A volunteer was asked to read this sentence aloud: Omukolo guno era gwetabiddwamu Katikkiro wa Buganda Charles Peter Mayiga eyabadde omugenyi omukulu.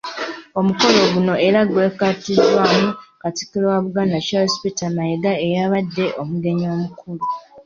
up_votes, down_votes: 2, 1